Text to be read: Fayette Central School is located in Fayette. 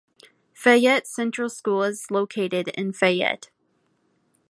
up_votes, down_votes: 2, 0